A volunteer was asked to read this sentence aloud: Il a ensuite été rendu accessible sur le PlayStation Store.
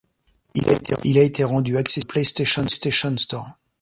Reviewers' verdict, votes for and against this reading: rejected, 0, 2